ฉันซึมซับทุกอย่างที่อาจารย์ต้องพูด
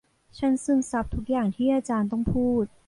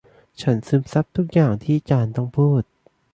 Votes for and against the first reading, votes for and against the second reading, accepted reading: 2, 0, 0, 2, first